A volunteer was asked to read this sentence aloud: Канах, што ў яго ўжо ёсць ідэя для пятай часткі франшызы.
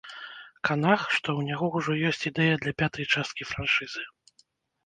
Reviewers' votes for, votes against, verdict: 1, 2, rejected